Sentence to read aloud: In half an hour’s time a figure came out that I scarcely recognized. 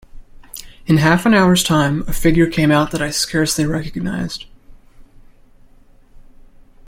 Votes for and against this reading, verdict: 2, 1, accepted